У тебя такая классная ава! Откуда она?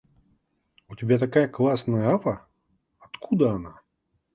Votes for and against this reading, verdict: 2, 0, accepted